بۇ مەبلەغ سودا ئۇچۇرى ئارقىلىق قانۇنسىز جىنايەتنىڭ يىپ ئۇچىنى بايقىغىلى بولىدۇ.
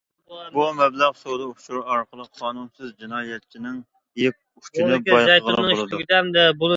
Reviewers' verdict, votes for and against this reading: rejected, 0, 2